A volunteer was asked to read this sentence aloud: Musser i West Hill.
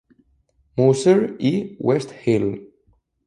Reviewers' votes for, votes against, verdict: 0, 2, rejected